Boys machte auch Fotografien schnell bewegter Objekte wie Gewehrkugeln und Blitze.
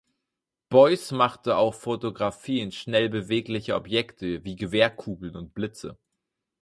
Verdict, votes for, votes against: rejected, 0, 4